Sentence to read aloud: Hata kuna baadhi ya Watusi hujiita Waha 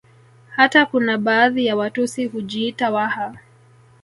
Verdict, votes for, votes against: rejected, 0, 2